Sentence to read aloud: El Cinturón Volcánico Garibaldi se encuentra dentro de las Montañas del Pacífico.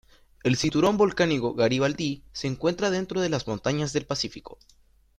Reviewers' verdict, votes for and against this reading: rejected, 1, 2